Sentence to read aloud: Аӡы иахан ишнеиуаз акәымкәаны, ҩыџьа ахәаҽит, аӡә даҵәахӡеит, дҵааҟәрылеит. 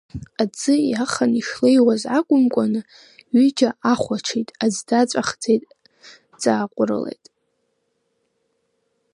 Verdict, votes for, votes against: rejected, 0, 2